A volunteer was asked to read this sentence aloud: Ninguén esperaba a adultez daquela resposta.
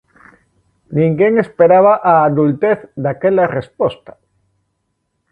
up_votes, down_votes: 2, 0